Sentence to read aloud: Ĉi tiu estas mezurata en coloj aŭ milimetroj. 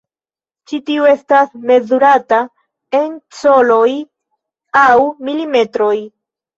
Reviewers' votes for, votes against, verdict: 2, 1, accepted